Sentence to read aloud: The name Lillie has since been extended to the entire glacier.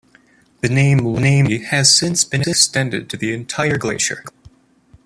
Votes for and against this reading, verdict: 1, 2, rejected